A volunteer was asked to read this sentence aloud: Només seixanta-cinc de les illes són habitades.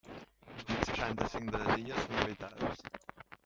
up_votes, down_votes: 1, 2